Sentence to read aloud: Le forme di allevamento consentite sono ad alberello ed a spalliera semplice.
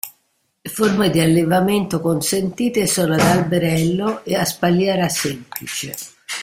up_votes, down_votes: 2, 0